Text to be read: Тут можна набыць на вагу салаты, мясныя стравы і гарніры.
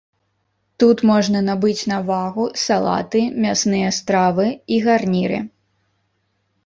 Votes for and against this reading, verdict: 0, 2, rejected